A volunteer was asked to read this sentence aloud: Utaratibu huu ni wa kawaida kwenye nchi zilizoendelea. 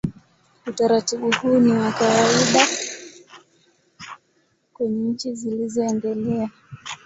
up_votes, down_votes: 11, 5